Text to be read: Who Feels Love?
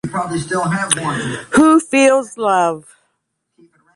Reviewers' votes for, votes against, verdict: 0, 2, rejected